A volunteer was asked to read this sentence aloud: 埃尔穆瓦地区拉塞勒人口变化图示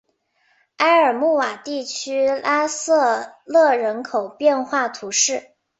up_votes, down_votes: 3, 1